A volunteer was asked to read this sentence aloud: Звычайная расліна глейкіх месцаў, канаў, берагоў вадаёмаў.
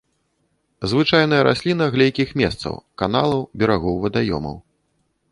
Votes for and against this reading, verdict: 1, 2, rejected